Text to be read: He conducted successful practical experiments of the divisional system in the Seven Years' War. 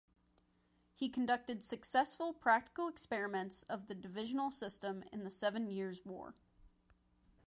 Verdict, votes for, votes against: accepted, 2, 0